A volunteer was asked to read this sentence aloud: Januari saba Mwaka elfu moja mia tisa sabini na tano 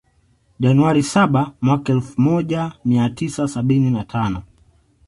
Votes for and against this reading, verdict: 2, 0, accepted